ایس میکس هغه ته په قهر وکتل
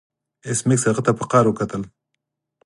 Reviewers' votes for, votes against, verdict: 4, 0, accepted